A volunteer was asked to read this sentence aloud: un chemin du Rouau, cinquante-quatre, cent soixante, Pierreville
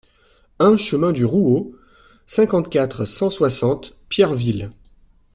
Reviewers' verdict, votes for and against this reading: accepted, 2, 0